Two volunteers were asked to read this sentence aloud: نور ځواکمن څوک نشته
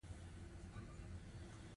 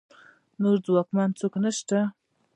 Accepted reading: second